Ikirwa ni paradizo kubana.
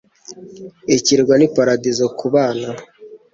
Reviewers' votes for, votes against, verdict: 2, 1, accepted